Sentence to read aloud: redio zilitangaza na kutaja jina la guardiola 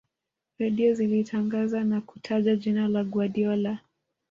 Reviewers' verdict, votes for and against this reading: accepted, 2, 1